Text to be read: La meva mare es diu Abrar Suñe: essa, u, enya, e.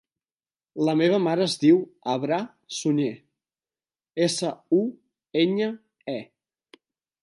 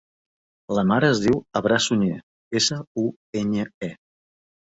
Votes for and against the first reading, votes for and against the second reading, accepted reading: 2, 0, 0, 2, first